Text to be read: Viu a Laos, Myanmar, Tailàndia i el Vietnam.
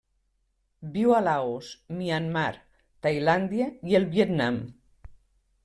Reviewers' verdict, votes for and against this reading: accepted, 3, 0